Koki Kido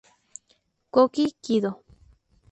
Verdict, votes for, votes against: accepted, 4, 0